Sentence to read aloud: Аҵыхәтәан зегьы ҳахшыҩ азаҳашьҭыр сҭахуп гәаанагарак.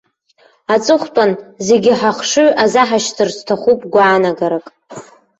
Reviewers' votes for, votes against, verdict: 2, 3, rejected